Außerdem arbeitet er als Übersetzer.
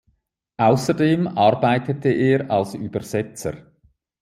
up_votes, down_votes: 0, 2